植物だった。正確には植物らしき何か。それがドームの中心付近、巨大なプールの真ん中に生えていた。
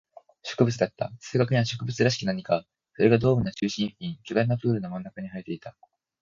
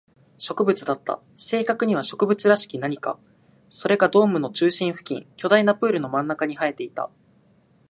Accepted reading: second